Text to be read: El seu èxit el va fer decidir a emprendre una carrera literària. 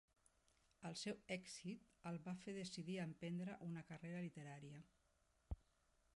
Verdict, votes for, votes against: rejected, 0, 2